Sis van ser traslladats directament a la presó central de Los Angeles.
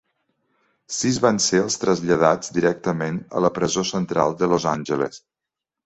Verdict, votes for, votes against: accepted, 2, 1